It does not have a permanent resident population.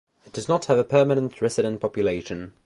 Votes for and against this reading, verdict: 2, 0, accepted